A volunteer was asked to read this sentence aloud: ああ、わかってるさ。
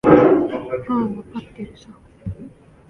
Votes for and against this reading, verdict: 0, 2, rejected